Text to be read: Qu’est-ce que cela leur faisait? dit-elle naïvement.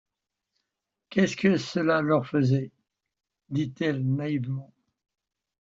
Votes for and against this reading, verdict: 1, 2, rejected